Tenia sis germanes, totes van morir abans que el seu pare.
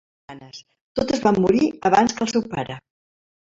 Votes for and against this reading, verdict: 0, 2, rejected